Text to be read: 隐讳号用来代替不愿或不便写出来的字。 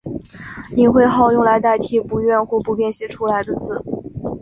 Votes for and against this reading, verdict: 2, 1, accepted